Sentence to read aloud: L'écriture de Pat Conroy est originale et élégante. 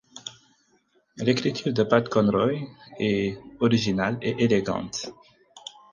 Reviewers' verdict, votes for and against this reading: accepted, 4, 0